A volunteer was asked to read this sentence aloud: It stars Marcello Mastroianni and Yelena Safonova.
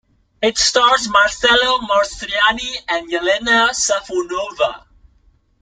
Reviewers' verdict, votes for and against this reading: accepted, 2, 0